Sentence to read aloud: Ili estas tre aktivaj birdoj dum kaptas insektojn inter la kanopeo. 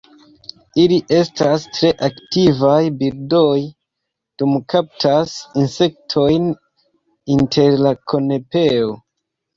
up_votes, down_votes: 0, 2